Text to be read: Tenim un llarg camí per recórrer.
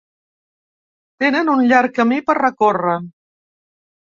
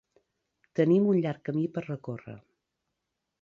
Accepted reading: second